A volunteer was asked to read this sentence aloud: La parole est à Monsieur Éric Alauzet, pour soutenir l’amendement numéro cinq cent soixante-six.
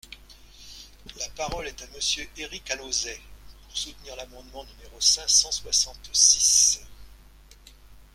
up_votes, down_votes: 2, 1